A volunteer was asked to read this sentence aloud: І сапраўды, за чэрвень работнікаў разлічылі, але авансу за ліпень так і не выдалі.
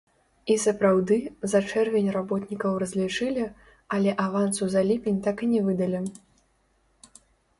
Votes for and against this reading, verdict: 0, 3, rejected